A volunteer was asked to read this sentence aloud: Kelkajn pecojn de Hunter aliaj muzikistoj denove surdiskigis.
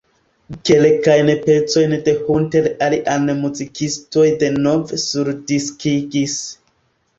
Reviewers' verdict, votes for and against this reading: rejected, 1, 3